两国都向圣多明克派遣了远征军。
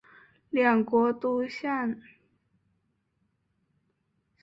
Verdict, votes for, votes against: rejected, 0, 5